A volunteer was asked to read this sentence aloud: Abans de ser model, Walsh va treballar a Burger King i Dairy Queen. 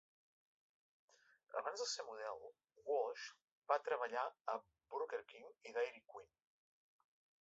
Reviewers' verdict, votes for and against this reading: accepted, 2, 0